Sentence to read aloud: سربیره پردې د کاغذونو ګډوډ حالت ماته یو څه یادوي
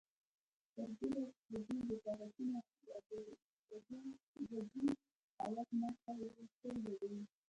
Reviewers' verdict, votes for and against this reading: rejected, 1, 2